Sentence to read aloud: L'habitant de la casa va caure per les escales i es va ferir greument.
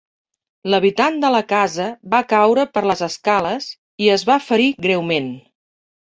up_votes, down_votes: 3, 0